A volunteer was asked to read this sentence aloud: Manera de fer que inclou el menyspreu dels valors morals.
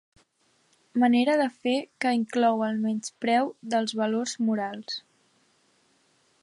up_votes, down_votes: 2, 0